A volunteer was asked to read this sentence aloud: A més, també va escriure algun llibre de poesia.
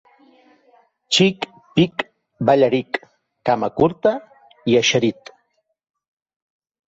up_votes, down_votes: 0, 2